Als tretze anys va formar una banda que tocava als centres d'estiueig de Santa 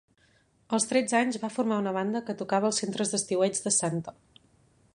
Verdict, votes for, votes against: accepted, 5, 0